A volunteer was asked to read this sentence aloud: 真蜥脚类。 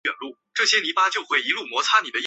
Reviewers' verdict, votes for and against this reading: rejected, 2, 4